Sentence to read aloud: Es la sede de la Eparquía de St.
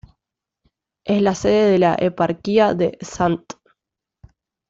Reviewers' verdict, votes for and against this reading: rejected, 0, 2